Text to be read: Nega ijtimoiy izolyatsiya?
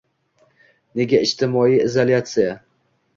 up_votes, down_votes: 2, 1